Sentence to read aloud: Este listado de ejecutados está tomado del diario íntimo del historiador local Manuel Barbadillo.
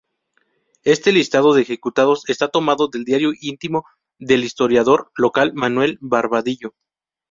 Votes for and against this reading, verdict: 2, 0, accepted